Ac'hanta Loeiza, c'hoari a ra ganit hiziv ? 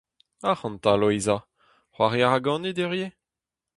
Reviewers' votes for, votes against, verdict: 0, 2, rejected